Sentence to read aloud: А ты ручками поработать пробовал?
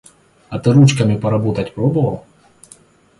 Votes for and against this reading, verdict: 2, 0, accepted